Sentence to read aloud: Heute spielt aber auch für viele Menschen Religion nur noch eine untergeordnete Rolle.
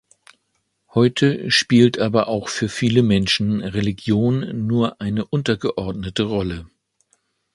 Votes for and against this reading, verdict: 0, 2, rejected